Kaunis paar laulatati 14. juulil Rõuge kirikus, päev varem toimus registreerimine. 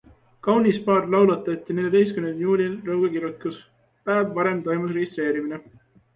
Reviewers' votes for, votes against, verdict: 0, 2, rejected